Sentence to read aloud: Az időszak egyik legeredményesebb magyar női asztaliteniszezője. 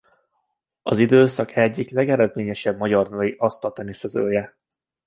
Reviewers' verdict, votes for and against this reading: rejected, 1, 2